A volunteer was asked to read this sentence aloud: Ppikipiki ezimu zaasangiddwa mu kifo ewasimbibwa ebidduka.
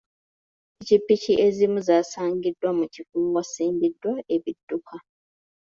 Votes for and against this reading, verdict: 2, 1, accepted